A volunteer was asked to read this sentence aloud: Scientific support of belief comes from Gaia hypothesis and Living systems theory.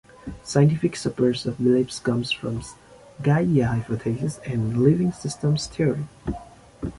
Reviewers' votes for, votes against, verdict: 0, 2, rejected